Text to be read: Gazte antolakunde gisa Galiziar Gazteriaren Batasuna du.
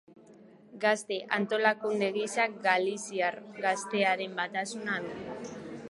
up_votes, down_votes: 0, 2